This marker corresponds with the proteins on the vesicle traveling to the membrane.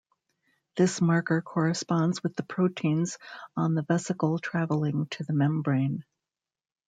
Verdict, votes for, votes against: rejected, 1, 2